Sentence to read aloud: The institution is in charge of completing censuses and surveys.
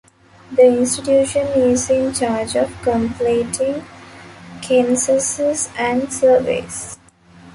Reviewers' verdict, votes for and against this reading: rejected, 0, 2